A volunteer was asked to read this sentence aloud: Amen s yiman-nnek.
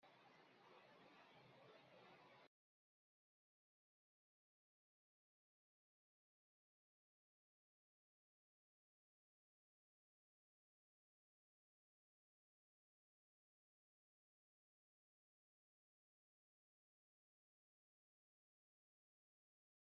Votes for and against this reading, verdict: 0, 2, rejected